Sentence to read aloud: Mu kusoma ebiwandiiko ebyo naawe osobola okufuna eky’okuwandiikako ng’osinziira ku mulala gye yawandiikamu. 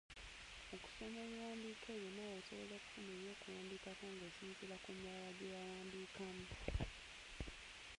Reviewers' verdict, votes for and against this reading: rejected, 0, 2